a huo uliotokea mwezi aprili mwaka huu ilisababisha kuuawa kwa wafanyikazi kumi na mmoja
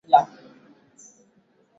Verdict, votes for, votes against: rejected, 0, 2